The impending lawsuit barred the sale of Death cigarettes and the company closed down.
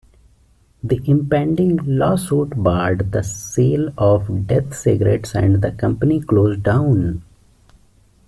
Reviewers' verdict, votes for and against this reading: accepted, 2, 0